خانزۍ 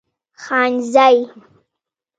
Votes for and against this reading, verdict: 3, 0, accepted